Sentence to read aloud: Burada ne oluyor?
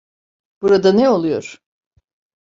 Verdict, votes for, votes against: accepted, 2, 0